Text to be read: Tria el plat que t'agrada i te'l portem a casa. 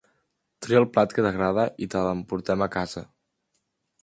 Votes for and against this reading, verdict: 1, 2, rejected